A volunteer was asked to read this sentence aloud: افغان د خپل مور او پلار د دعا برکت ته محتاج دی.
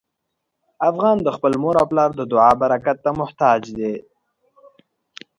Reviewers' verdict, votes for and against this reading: accepted, 2, 0